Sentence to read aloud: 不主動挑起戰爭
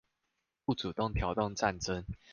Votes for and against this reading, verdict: 0, 2, rejected